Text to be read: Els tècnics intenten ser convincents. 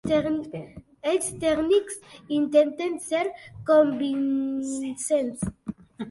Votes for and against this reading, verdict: 1, 3, rejected